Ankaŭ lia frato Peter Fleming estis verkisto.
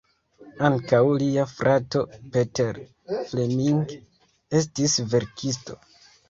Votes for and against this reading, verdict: 3, 0, accepted